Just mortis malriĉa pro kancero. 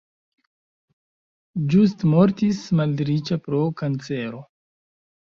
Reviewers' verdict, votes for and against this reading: rejected, 1, 2